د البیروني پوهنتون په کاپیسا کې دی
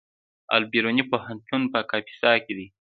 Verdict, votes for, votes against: accepted, 2, 1